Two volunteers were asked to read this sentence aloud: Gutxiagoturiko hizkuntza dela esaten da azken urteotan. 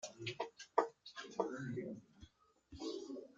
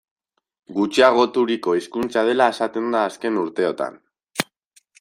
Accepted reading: second